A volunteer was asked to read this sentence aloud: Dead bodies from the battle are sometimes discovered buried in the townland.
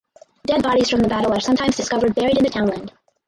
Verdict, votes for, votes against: rejected, 2, 4